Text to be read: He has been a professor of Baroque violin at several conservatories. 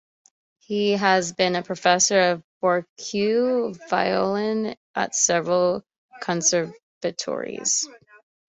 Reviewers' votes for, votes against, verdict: 0, 2, rejected